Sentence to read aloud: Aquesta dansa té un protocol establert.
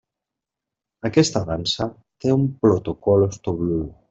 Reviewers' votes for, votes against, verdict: 0, 2, rejected